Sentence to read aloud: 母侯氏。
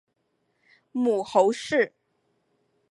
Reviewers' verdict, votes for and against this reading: accepted, 3, 0